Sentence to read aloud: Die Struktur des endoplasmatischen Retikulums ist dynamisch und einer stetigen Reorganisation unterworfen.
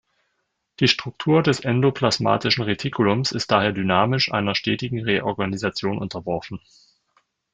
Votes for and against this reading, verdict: 0, 2, rejected